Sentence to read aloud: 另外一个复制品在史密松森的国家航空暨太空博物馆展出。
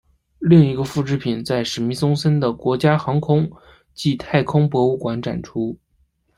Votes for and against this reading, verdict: 2, 0, accepted